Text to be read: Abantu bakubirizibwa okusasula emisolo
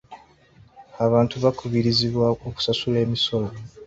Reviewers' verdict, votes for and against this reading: accepted, 2, 0